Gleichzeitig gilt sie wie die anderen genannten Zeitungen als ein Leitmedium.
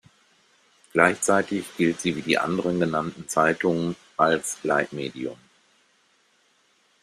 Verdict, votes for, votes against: rejected, 1, 2